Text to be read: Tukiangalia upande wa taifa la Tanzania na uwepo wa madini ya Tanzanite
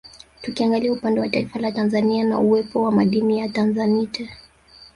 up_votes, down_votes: 0, 2